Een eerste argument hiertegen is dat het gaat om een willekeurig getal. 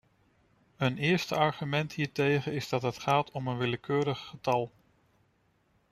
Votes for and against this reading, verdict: 2, 0, accepted